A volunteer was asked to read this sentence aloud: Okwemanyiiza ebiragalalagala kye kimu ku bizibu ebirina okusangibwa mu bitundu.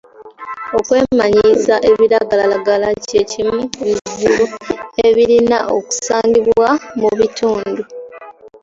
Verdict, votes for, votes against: accepted, 2, 0